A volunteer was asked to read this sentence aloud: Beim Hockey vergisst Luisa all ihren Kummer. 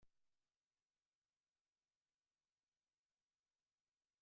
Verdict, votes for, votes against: rejected, 0, 2